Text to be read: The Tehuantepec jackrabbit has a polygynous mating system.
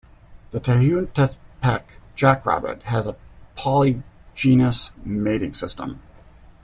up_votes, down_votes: 0, 2